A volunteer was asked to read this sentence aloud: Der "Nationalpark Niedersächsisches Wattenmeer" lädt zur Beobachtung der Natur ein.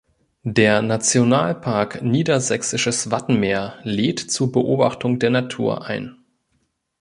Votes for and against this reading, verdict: 2, 0, accepted